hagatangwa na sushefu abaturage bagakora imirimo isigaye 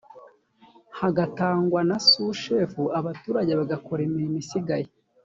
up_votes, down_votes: 2, 0